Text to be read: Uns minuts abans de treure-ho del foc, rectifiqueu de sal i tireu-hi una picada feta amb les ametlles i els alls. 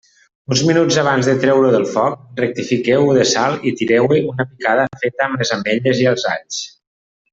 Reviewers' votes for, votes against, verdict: 0, 2, rejected